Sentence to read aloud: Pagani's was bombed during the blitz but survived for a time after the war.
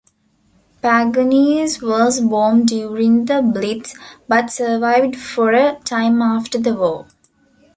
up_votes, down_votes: 2, 0